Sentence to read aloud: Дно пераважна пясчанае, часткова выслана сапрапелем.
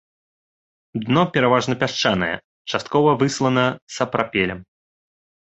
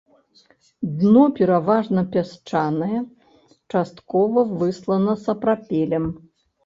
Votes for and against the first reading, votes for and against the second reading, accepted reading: 2, 0, 0, 2, first